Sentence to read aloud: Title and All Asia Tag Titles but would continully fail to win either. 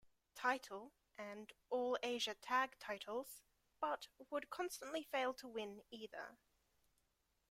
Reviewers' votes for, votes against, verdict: 0, 2, rejected